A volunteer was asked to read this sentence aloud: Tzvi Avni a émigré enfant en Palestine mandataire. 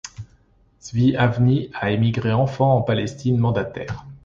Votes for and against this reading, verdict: 2, 0, accepted